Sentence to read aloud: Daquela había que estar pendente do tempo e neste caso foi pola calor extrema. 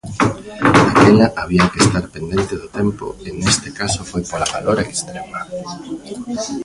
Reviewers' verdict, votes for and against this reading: rejected, 1, 2